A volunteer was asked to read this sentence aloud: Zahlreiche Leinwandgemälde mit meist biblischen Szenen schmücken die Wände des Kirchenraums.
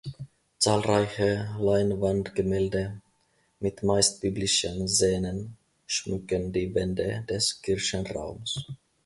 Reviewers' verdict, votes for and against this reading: accepted, 2, 1